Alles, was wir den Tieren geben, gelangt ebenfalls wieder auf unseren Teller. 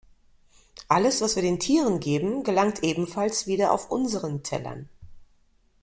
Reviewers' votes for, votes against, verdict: 1, 2, rejected